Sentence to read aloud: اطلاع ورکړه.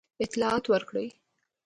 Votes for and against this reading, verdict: 2, 0, accepted